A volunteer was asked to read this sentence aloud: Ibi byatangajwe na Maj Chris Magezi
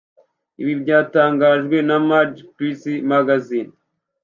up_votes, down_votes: 1, 2